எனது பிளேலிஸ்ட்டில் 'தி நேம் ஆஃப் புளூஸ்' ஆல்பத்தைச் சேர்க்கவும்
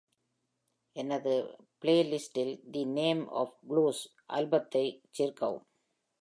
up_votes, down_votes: 2, 0